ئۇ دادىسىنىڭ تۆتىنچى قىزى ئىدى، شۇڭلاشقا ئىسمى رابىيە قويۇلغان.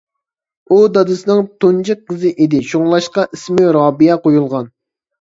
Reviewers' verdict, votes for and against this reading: rejected, 0, 2